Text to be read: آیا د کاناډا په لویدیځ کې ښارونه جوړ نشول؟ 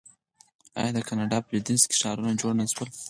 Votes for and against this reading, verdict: 0, 4, rejected